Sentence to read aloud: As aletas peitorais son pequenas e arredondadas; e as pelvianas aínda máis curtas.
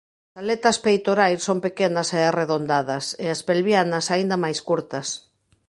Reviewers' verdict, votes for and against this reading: rejected, 0, 2